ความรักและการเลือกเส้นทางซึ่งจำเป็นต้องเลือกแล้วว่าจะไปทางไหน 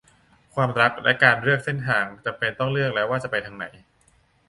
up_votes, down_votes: 0, 2